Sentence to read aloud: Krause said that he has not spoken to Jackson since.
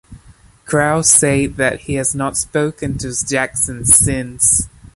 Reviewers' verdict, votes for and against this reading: rejected, 0, 2